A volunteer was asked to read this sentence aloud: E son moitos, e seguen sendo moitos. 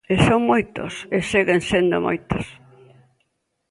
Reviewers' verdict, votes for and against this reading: accepted, 2, 0